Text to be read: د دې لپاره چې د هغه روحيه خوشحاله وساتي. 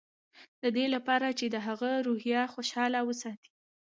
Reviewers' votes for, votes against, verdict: 1, 2, rejected